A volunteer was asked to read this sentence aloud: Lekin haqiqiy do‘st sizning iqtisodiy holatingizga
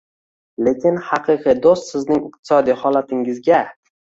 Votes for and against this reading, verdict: 2, 0, accepted